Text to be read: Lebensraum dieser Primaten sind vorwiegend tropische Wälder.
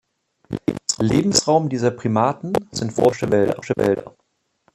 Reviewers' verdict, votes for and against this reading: rejected, 0, 2